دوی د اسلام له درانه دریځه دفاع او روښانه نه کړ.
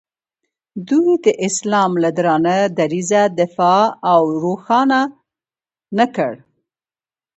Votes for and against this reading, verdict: 2, 0, accepted